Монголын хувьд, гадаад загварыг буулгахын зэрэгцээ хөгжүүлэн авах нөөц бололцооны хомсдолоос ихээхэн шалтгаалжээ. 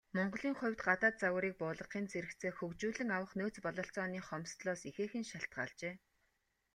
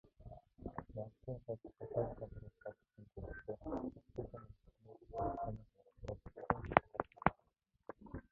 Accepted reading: first